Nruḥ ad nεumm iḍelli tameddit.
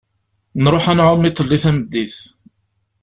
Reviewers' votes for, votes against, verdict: 0, 2, rejected